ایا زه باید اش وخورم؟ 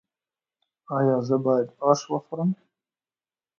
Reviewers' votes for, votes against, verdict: 2, 0, accepted